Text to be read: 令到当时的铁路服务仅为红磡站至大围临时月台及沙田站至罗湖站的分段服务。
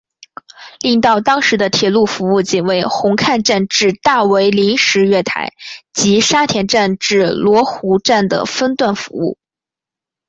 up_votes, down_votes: 2, 1